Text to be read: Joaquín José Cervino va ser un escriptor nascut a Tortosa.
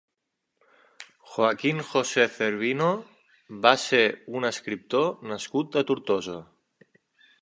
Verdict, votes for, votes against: accepted, 3, 0